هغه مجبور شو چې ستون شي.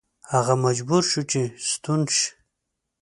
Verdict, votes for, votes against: accepted, 3, 0